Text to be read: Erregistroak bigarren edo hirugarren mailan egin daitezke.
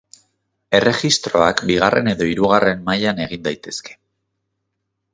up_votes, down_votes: 2, 0